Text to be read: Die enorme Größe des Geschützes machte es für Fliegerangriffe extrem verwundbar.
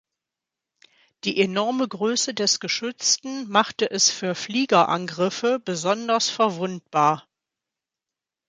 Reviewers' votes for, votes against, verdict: 0, 2, rejected